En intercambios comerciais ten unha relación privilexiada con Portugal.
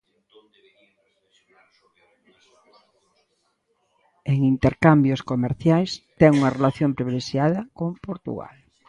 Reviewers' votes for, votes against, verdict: 2, 0, accepted